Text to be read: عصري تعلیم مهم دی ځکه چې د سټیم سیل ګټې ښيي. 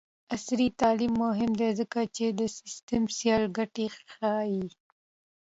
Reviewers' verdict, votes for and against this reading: accepted, 2, 0